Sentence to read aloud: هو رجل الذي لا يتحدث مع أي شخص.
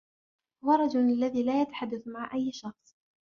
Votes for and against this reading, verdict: 2, 0, accepted